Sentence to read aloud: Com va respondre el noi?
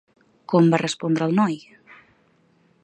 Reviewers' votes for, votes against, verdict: 2, 0, accepted